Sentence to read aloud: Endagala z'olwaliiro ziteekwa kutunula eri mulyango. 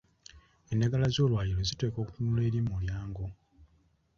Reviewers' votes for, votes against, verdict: 2, 1, accepted